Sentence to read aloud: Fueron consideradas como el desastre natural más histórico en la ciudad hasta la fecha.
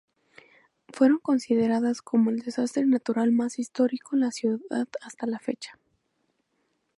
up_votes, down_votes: 0, 2